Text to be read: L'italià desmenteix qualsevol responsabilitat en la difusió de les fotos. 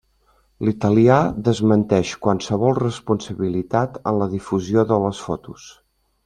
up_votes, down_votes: 1, 2